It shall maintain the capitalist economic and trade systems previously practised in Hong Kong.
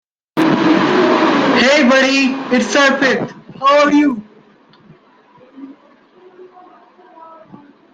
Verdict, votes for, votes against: rejected, 0, 2